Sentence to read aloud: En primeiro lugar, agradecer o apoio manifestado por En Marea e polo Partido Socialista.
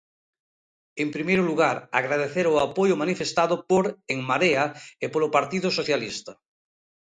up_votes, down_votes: 2, 0